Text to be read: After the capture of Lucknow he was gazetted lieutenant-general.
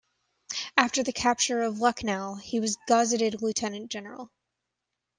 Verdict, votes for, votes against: rejected, 0, 2